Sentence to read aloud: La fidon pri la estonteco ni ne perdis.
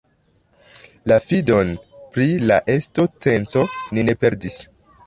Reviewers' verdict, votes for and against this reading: rejected, 1, 2